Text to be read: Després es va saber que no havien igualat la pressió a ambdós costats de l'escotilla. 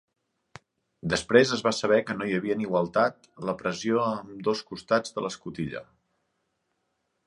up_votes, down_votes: 0, 2